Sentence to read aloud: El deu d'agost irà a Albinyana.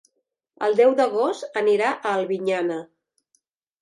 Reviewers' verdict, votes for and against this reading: rejected, 0, 2